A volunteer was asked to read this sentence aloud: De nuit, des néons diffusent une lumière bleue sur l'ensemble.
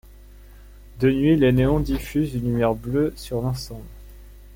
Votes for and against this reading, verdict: 1, 2, rejected